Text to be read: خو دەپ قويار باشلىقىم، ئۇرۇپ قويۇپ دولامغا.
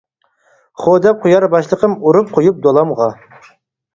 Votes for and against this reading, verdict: 4, 0, accepted